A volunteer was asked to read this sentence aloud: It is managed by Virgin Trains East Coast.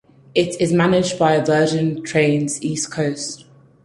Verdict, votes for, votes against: accepted, 4, 0